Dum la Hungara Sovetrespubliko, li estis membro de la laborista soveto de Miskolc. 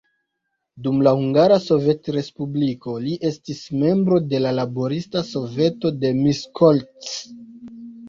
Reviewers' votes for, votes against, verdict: 2, 0, accepted